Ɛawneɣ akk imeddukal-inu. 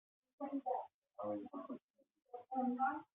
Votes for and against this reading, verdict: 0, 2, rejected